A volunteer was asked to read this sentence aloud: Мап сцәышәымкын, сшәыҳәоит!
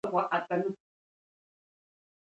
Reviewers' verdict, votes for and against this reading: rejected, 1, 2